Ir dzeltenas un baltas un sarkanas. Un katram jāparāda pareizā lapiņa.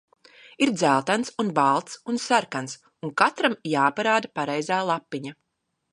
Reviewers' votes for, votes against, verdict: 0, 2, rejected